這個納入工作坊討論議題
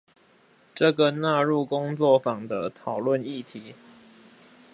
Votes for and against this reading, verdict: 2, 4, rejected